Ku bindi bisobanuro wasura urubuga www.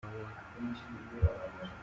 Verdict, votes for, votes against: rejected, 0, 2